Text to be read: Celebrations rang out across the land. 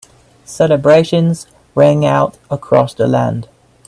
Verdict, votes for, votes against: accepted, 3, 0